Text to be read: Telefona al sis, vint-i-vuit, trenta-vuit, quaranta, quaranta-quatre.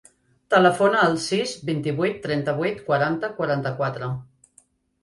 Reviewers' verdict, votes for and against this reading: accepted, 3, 0